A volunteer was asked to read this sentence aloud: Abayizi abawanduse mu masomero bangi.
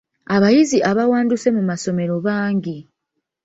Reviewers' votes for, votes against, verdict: 2, 0, accepted